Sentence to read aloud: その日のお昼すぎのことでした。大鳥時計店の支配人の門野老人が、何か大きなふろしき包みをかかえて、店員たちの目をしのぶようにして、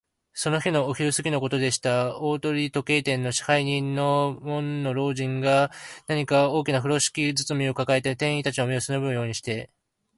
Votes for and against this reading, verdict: 0, 2, rejected